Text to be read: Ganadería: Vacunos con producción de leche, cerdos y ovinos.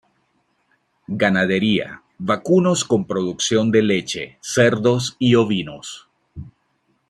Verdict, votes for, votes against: accepted, 2, 0